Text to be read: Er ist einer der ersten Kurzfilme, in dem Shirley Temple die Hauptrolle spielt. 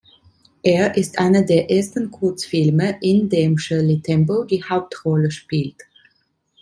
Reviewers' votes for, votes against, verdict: 2, 0, accepted